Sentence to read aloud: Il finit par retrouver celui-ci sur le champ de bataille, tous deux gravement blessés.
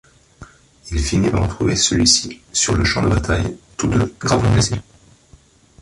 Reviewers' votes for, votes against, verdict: 0, 2, rejected